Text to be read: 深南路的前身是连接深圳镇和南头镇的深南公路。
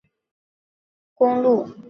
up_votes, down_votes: 0, 2